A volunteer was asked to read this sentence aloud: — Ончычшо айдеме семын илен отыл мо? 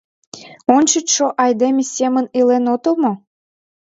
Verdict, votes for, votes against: accepted, 2, 0